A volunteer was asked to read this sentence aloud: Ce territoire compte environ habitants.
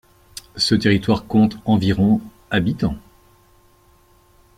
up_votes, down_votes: 2, 0